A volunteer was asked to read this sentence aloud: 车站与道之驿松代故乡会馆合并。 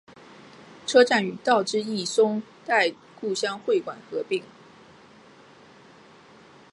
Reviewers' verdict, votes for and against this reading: accepted, 2, 0